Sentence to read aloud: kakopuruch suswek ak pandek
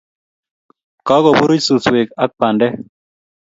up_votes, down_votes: 2, 0